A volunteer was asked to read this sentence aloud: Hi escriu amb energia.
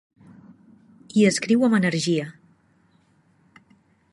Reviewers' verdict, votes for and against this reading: accepted, 2, 0